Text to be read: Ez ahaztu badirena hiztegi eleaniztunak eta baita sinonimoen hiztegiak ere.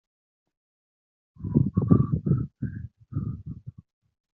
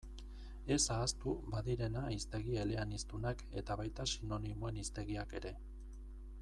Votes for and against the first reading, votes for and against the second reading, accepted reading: 1, 2, 2, 0, second